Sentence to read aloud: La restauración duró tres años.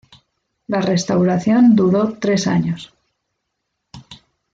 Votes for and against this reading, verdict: 2, 0, accepted